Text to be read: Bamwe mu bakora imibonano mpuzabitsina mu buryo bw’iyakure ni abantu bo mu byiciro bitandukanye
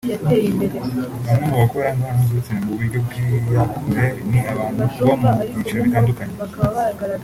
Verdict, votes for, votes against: rejected, 1, 2